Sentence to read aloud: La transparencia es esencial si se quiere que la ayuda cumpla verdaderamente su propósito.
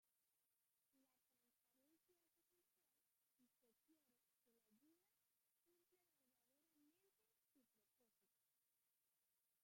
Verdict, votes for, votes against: rejected, 0, 2